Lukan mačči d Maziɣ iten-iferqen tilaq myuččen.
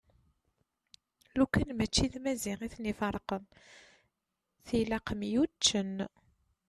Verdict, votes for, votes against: accepted, 2, 0